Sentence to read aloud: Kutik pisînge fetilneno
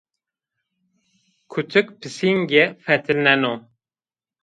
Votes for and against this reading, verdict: 2, 0, accepted